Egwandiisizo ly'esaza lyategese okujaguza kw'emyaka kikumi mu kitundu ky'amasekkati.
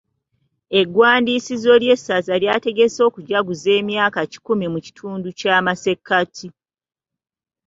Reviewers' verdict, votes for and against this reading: accepted, 2, 0